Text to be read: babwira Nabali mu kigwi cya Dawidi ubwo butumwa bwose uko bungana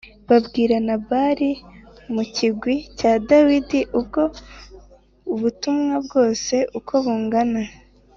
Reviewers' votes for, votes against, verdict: 2, 0, accepted